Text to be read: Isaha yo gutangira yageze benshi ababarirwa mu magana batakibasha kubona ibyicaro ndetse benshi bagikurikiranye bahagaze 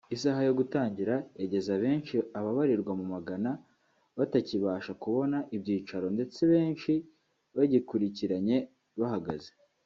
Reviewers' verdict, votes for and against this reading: rejected, 1, 2